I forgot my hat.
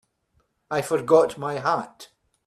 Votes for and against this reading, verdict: 2, 0, accepted